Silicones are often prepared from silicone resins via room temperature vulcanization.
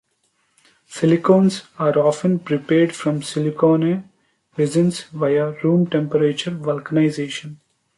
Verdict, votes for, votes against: rejected, 0, 2